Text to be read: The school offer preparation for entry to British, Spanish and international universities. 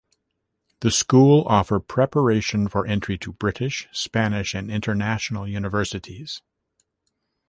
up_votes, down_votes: 2, 0